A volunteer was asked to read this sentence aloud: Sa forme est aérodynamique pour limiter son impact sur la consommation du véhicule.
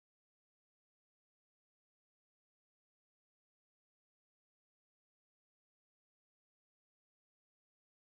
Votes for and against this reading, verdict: 0, 2, rejected